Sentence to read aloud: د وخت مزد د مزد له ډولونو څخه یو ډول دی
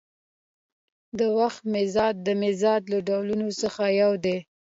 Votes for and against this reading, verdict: 2, 0, accepted